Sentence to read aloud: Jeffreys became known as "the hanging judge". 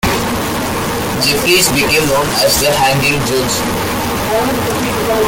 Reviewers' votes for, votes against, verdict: 0, 2, rejected